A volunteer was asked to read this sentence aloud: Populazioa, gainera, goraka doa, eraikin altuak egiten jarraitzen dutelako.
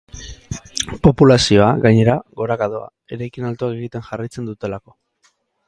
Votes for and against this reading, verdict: 2, 2, rejected